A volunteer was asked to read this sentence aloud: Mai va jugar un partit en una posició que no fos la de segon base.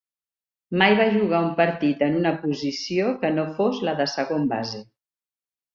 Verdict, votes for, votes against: accepted, 3, 0